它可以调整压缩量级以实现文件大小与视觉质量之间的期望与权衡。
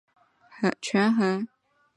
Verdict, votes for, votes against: rejected, 1, 2